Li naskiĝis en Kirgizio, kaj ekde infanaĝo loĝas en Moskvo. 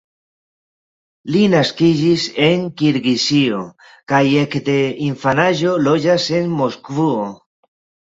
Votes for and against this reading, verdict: 0, 2, rejected